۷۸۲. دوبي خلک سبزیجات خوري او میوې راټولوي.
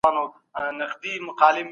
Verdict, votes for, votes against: rejected, 0, 2